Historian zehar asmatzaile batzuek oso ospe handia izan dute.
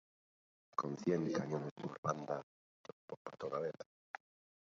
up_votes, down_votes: 0, 2